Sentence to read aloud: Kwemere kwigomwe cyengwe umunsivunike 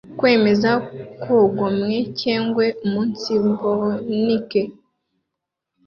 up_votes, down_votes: 2, 0